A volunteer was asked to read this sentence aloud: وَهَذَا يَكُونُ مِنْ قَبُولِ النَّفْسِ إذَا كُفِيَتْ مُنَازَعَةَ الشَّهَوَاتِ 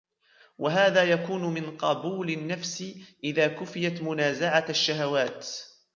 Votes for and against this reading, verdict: 2, 0, accepted